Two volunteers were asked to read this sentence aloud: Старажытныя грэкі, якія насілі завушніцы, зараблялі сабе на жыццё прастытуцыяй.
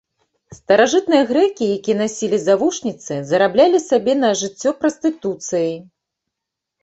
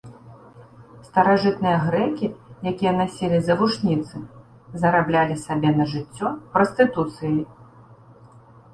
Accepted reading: second